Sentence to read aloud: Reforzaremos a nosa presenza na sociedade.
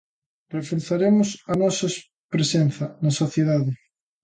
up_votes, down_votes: 0, 3